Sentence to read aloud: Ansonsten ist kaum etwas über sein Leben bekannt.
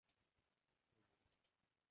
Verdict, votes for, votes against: rejected, 0, 2